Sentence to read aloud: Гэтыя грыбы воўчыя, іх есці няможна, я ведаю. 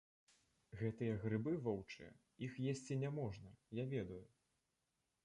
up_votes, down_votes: 0, 2